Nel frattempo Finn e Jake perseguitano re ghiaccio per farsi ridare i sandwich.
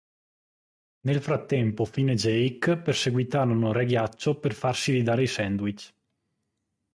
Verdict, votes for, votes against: rejected, 1, 3